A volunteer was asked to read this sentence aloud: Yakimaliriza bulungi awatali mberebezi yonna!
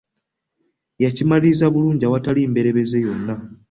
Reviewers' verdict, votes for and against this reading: accepted, 2, 0